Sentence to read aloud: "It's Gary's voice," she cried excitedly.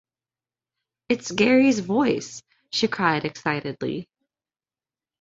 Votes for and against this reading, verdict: 2, 0, accepted